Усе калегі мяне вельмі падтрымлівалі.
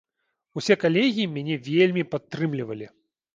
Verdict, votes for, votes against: accepted, 2, 0